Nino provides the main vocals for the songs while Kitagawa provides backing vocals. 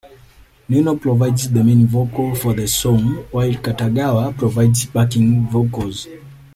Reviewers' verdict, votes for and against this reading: rejected, 1, 2